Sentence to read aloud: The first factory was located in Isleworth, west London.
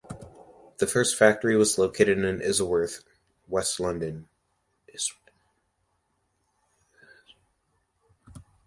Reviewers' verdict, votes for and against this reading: rejected, 0, 2